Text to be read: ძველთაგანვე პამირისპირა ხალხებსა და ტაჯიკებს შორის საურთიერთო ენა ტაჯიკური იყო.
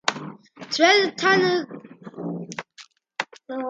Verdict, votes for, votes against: accepted, 2, 1